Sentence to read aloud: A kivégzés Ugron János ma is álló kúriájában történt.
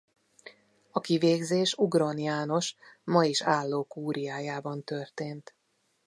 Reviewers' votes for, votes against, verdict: 2, 0, accepted